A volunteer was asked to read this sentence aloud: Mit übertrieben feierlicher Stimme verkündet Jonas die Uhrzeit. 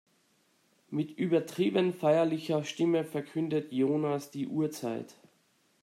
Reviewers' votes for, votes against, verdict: 2, 0, accepted